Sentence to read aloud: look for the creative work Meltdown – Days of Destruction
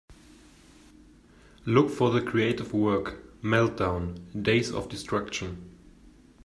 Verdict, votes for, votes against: accepted, 2, 0